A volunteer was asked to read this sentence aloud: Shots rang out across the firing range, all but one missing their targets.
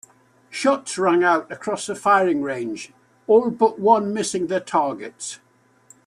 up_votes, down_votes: 2, 0